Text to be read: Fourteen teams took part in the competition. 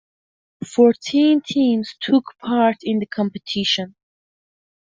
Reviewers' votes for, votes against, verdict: 2, 0, accepted